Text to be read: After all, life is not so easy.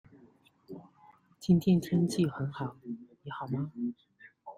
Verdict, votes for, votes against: rejected, 1, 2